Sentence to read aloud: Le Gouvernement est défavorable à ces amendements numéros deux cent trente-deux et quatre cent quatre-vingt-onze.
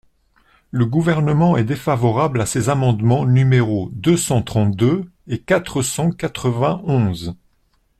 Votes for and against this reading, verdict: 2, 0, accepted